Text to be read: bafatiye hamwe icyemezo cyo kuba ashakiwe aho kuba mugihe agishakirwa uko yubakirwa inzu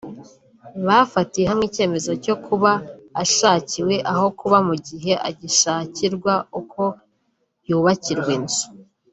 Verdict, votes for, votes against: accepted, 2, 0